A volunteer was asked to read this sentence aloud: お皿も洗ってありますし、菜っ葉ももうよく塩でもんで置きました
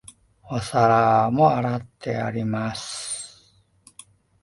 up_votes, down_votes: 0, 2